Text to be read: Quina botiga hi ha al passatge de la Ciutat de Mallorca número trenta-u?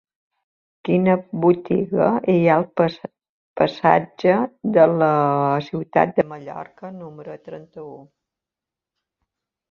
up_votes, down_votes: 0, 2